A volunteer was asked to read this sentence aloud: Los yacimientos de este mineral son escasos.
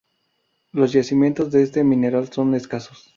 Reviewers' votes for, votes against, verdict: 0, 2, rejected